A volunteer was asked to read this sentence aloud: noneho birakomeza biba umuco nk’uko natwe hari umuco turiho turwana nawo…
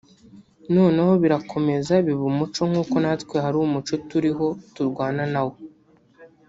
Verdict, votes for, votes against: accepted, 3, 2